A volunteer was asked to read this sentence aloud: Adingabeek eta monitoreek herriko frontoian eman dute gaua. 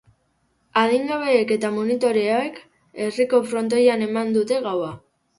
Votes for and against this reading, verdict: 0, 2, rejected